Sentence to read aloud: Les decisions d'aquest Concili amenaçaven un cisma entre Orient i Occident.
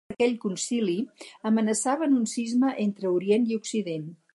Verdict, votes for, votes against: rejected, 2, 4